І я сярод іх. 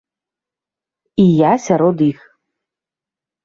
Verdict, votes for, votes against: accepted, 2, 0